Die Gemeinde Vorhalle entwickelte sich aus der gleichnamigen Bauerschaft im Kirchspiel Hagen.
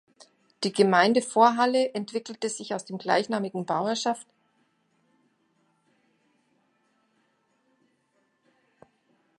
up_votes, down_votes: 0, 2